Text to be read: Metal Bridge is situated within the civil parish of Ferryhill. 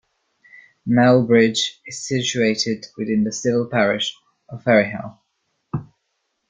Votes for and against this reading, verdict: 0, 2, rejected